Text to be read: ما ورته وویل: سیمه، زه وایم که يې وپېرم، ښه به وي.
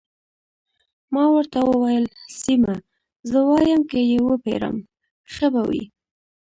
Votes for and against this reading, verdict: 2, 0, accepted